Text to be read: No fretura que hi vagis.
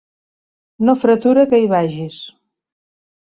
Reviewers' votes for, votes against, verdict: 3, 0, accepted